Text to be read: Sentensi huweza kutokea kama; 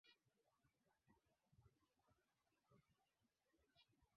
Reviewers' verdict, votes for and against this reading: rejected, 0, 2